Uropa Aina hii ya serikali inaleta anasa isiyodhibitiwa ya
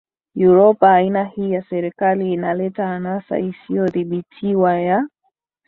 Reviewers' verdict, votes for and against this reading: accepted, 2, 1